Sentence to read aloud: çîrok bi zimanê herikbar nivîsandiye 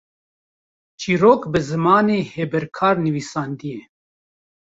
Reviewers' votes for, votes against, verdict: 0, 3, rejected